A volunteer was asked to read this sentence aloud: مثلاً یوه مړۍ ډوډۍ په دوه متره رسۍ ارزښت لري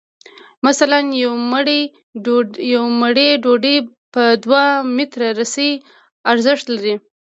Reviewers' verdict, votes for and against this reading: rejected, 0, 2